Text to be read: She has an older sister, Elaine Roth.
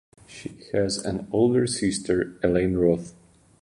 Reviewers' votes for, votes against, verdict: 2, 0, accepted